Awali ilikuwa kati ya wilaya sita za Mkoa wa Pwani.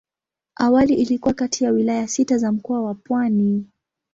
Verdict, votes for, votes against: accepted, 2, 0